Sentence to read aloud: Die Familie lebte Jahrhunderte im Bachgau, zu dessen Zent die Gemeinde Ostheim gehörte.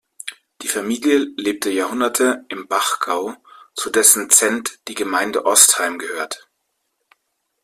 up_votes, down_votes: 1, 2